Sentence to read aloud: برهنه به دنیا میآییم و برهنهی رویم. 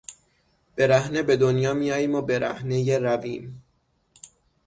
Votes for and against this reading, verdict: 3, 6, rejected